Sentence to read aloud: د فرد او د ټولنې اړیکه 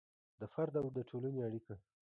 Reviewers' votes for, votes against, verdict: 0, 2, rejected